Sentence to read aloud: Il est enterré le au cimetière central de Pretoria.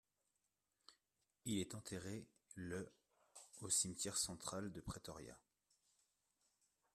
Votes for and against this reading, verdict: 1, 2, rejected